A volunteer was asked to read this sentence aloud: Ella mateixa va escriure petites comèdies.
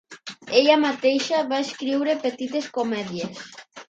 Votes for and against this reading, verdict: 3, 0, accepted